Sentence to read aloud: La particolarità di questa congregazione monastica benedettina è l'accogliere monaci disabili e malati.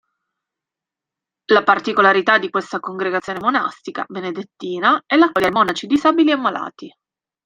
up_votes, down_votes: 0, 2